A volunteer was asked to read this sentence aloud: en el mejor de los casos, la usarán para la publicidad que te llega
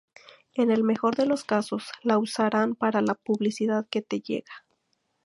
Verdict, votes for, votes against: rejected, 2, 2